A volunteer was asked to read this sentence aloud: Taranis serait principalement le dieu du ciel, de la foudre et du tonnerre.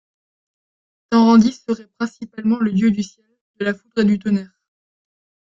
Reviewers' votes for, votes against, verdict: 1, 2, rejected